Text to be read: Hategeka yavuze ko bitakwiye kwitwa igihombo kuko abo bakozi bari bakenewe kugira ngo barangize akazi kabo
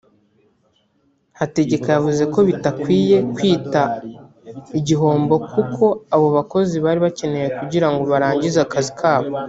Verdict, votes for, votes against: rejected, 1, 2